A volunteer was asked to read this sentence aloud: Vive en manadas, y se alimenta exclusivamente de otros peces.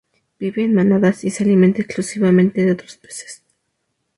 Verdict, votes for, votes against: accepted, 2, 0